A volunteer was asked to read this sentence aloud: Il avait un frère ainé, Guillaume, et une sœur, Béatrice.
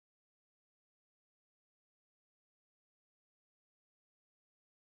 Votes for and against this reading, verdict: 0, 2, rejected